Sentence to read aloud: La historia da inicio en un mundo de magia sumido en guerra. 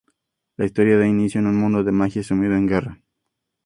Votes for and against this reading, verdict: 2, 0, accepted